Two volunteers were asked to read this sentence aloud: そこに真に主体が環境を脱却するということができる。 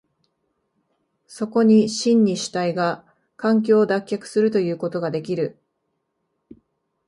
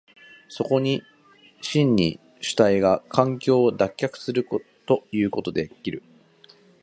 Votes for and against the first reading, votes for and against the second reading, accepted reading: 2, 0, 1, 2, first